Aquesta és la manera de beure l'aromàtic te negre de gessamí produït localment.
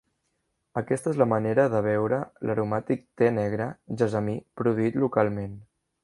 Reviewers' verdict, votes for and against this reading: rejected, 0, 2